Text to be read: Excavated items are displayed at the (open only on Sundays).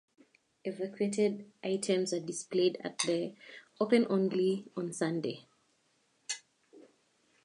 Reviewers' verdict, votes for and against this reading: rejected, 0, 2